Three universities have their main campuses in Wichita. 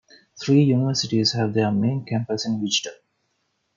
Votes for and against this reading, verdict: 2, 0, accepted